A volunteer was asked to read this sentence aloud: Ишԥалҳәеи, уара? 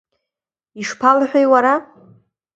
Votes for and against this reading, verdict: 2, 0, accepted